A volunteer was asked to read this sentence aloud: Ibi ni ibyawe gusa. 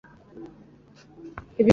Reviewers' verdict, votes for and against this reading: rejected, 0, 2